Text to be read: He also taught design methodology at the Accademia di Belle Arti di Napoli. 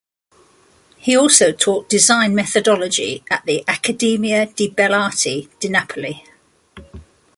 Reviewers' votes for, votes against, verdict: 2, 0, accepted